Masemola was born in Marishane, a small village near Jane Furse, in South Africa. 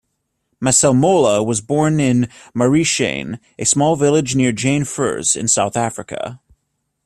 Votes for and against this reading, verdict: 2, 0, accepted